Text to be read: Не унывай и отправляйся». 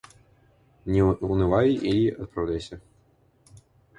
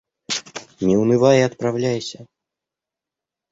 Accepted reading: second